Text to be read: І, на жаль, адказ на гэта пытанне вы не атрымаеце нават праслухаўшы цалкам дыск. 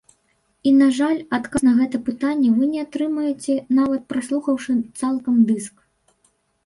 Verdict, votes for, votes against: rejected, 0, 2